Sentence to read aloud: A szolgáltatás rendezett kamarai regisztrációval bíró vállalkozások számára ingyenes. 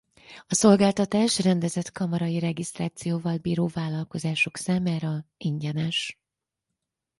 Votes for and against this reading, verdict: 4, 0, accepted